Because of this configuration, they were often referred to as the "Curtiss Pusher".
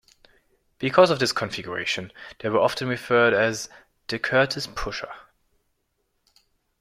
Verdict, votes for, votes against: rejected, 0, 2